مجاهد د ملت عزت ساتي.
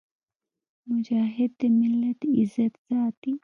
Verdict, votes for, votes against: accepted, 2, 0